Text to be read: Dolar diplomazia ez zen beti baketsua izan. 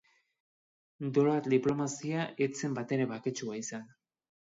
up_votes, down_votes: 1, 2